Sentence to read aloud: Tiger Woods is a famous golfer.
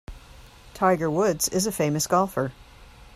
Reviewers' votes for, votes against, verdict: 2, 0, accepted